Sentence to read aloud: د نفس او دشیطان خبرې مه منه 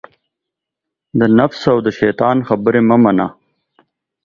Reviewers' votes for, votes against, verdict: 2, 0, accepted